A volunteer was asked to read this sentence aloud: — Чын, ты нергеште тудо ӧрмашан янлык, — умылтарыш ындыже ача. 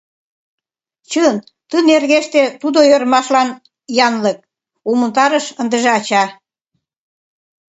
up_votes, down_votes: 1, 2